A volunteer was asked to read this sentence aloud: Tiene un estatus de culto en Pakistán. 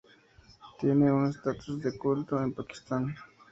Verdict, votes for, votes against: accepted, 2, 0